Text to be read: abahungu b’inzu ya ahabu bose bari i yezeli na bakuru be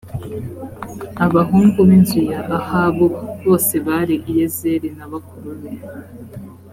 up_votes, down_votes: 2, 0